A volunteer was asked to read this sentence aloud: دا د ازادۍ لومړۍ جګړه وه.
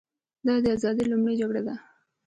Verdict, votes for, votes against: accepted, 2, 0